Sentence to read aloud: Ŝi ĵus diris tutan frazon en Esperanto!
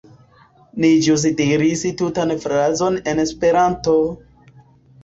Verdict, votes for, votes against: rejected, 0, 2